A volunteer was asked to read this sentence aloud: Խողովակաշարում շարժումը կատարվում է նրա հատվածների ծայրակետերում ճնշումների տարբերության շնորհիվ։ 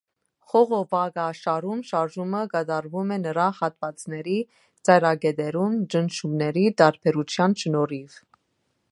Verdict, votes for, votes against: accepted, 2, 1